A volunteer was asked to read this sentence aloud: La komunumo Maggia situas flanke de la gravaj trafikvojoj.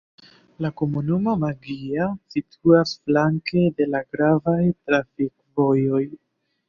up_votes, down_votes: 2, 0